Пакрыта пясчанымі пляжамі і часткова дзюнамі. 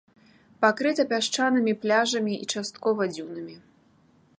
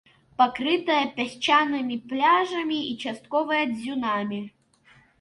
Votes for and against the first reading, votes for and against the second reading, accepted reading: 2, 0, 1, 2, first